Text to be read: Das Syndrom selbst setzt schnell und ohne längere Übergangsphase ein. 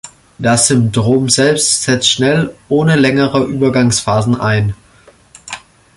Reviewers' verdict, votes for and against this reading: rejected, 0, 2